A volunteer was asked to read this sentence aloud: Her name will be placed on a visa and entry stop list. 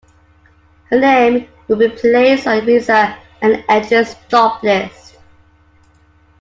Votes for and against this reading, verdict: 0, 2, rejected